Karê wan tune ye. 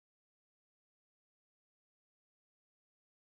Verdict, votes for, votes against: rejected, 0, 2